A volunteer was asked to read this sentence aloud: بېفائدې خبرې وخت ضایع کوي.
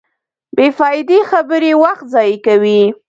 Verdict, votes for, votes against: rejected, 1, 2